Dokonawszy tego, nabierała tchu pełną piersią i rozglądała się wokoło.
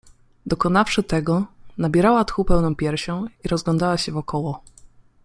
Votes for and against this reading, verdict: 2, 0, accepted